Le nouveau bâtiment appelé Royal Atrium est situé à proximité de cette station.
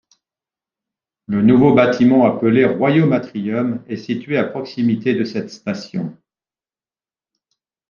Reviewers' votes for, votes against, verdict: 0, 2, rejected